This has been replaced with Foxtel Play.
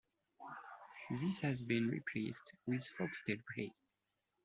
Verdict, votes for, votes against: accepted, 2, 0